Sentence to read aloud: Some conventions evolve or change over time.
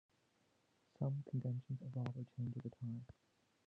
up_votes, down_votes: 0, 2